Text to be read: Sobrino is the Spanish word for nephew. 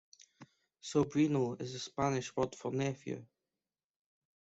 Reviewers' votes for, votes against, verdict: 2, 0, accepted